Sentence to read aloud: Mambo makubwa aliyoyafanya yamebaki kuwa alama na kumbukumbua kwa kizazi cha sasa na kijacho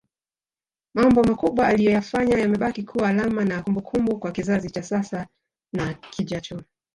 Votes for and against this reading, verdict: 3, 4, rejected